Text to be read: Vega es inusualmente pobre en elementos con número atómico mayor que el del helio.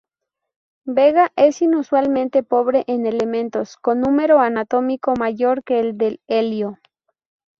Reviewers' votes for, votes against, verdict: 2, 2, rejected